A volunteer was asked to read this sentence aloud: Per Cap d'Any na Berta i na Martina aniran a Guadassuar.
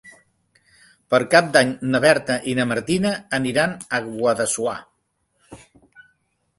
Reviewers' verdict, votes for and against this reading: accepted, 3, 0